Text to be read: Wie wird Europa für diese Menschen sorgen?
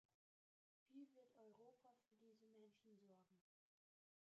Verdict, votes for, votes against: rejected, 0, 3